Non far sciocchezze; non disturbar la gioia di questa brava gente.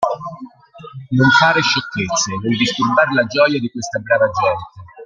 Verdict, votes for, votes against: rejected, 1, 2